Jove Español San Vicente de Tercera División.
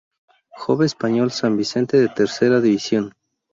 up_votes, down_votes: 0, 2